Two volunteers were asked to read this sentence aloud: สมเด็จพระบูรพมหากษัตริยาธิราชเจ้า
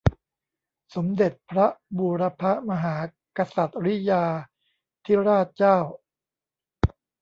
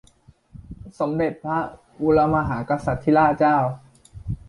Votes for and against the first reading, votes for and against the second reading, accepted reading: 1, 2, 2, 1, second